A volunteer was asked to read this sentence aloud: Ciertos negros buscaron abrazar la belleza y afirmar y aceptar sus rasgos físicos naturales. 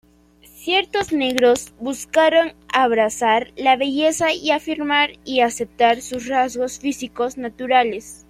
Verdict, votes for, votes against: rejected, 1, 2